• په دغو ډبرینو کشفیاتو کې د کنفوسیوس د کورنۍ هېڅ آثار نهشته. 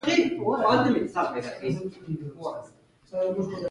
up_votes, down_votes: 0, 2